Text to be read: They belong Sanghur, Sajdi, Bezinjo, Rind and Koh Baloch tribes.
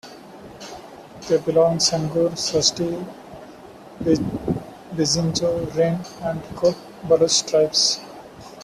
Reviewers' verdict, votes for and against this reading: rejected, 1, 2